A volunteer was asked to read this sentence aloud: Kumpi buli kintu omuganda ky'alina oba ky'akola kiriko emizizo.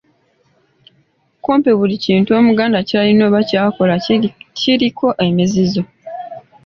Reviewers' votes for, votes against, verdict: 2, 1, accepted